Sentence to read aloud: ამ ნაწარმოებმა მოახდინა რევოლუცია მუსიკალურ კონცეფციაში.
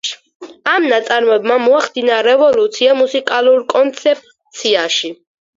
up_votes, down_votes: 4, 0